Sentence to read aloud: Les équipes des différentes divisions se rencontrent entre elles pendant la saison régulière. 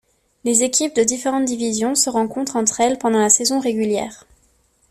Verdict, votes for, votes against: rejected, 2, 3